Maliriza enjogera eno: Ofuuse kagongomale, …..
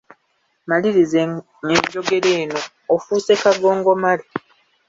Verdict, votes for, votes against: rejected, 0, 2